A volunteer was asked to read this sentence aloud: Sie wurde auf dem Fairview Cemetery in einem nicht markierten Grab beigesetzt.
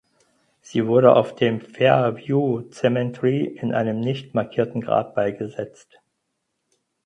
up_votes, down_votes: 0, 4